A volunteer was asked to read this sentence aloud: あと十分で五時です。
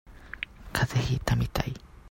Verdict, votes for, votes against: rejected, 0, 2